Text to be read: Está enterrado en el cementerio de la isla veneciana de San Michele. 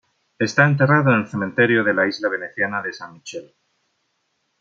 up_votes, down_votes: 1, 2